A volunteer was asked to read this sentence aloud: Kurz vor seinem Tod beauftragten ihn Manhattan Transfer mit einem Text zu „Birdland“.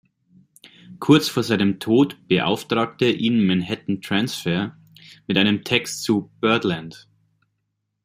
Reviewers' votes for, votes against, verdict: 1, 2, rejected